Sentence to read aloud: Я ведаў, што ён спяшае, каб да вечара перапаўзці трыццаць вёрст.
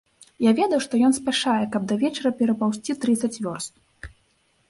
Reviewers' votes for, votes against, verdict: 3, 0, accepted